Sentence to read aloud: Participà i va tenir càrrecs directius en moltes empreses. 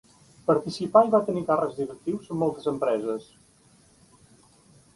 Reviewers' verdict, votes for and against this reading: rejected, 1, 2